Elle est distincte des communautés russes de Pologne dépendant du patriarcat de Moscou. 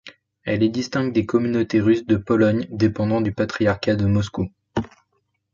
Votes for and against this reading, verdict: 2, 0, accepted